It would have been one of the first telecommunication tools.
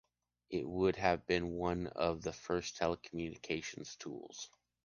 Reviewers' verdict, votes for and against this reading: rejected, 0, 2